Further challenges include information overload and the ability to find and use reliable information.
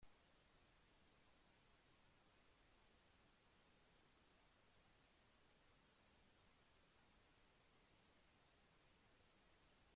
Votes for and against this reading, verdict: 0, 2, rejected